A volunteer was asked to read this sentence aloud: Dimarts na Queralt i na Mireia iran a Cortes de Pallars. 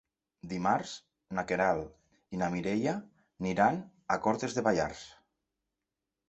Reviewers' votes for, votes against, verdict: 2, 0, accepted